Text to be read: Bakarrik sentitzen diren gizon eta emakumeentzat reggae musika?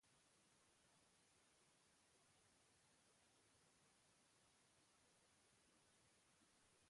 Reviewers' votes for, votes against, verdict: 0, 2, rejected